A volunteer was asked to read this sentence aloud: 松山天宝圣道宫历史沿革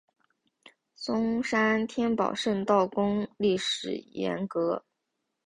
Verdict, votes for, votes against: accepted, 7, 0